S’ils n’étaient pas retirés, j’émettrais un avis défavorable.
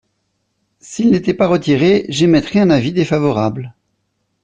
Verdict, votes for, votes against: accepted, 2, 0